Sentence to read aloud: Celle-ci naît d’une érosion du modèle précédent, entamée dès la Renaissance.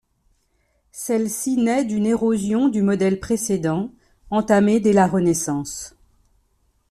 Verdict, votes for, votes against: accepted, 2, 0